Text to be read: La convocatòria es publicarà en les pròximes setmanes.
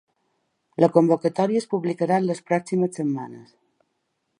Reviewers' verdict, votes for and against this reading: accepted, 2, 0